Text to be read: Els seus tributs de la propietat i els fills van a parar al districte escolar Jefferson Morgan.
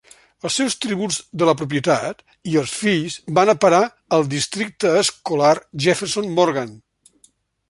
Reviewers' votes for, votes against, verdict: 2, 0, accepted